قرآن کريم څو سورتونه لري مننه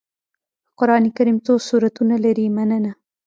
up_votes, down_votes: 1, 2